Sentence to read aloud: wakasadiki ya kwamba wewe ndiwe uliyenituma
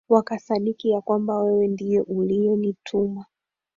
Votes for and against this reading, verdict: 1, 2, rejected